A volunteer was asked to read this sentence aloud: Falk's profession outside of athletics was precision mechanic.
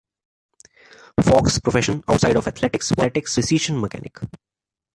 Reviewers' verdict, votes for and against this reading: rejected, 0, 2